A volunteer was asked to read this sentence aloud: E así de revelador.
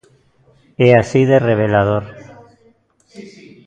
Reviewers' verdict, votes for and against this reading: rejected, 1, 2